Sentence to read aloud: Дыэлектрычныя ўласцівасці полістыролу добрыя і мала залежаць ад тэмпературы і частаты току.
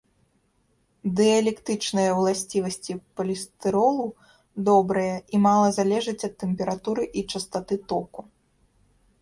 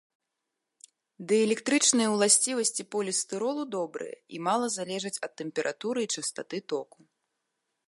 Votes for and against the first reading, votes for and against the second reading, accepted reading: 0, 3, 2, 0, second